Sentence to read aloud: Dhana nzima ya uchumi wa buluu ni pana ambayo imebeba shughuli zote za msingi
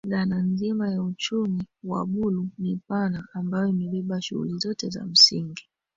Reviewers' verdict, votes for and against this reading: rejected, 1, 2